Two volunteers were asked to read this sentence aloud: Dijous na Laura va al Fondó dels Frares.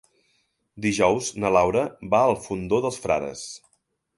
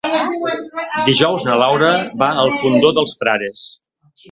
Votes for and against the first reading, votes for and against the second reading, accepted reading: 3, 0, 1, 3, first